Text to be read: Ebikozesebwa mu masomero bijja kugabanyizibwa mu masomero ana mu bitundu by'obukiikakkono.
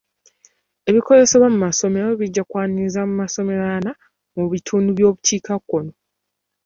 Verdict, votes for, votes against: rejected, 0, 2